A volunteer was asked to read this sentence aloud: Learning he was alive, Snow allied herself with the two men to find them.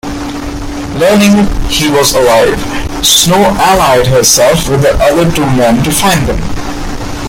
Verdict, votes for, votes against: rejected, 1, 2